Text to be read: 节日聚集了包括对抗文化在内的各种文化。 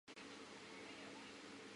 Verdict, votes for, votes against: rejected, 1, 3